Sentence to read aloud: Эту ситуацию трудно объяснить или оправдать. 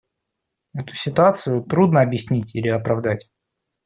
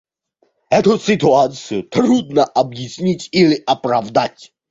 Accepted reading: first